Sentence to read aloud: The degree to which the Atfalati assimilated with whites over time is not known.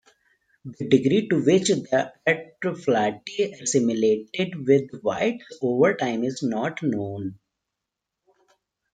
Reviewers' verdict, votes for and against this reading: rejected, 0, 2